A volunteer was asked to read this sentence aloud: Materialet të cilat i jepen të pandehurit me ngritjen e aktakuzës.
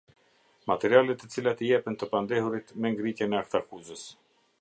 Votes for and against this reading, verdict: 2, 0, accepted